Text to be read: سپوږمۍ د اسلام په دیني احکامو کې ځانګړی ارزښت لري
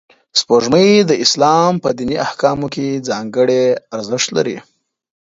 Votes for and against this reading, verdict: 3, 0, accepted